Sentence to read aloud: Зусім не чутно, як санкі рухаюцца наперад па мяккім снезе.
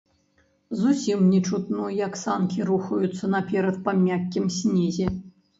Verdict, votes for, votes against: accepted, 2, 0